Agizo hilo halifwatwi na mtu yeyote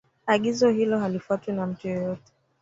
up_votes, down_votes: 0, 2